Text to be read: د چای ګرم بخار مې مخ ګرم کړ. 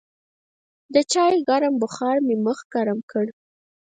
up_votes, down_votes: 0, 4